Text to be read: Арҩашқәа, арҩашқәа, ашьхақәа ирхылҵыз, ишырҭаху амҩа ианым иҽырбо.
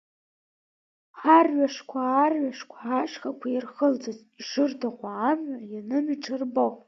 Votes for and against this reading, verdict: 2, 1, accepted